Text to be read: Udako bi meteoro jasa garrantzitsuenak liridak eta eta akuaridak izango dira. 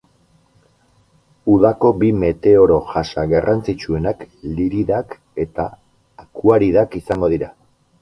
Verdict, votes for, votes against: accepted, 4, 0